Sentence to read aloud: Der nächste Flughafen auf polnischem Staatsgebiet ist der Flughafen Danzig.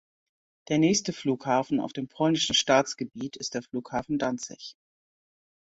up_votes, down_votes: 0, 2